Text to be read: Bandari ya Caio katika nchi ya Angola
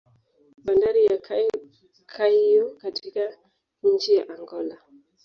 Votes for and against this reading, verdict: 1, 2, rejected